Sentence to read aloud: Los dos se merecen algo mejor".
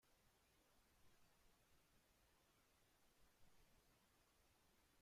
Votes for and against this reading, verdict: 0, 2, rejected